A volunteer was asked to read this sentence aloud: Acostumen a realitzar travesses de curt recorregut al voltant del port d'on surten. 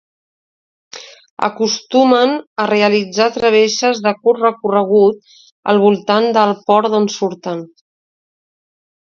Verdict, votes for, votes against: accepted, 2, 0